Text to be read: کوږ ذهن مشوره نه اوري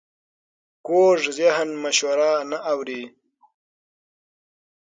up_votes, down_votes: 9, 0